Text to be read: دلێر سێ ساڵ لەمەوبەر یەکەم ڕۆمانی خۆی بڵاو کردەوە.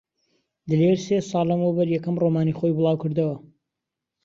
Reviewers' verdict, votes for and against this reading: accepted, 2, 0